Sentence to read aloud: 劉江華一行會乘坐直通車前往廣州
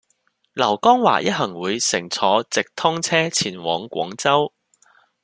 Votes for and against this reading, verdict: 2, 0, accepted